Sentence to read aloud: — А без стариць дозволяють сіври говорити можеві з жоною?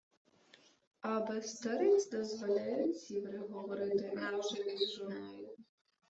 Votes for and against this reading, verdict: 2, 0, accepted